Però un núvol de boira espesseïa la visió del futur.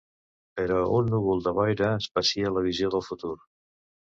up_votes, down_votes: 1, 2